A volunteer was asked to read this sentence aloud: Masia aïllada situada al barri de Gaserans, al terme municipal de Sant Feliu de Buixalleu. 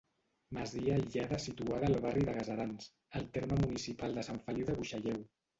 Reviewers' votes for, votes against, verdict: 1, 2, rejected